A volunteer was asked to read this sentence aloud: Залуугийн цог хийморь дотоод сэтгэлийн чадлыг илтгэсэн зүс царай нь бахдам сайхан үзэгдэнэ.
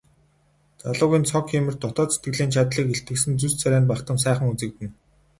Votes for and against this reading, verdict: 0, 2, rejected